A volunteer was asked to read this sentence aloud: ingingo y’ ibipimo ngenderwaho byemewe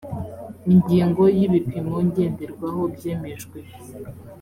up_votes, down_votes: 1, 3